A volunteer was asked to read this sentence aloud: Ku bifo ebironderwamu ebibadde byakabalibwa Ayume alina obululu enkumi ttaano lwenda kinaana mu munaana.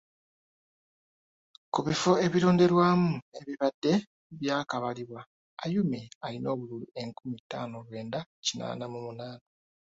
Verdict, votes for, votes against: accepted, 2, 1